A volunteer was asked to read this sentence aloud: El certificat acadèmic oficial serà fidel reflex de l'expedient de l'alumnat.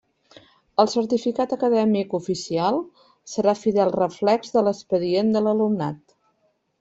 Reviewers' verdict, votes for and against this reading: accepted, 2, 0